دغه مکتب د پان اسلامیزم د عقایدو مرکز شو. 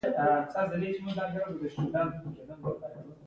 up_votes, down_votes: 0, 2